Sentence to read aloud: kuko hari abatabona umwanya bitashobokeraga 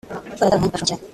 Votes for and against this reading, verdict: 0, 2, rejected